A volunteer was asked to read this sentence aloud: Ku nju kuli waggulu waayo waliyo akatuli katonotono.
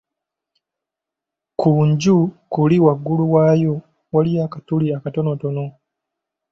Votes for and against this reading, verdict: 2, 0, accepted